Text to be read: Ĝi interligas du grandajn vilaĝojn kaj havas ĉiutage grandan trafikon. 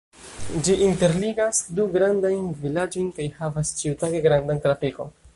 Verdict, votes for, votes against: rejected, 0, 2